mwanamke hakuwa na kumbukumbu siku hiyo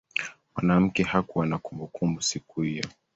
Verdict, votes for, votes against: accepted, 3, 2